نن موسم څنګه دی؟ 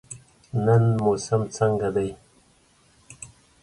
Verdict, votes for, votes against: accepted, 2, 0